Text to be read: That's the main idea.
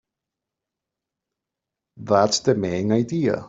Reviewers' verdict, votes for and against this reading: accepted, 2, 0